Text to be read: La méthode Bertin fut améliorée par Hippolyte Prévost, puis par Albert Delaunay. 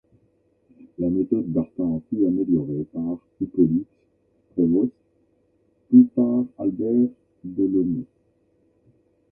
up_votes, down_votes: 0, 2